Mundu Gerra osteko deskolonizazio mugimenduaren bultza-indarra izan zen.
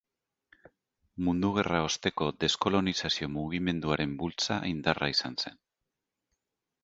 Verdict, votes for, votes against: rejected, 1, 2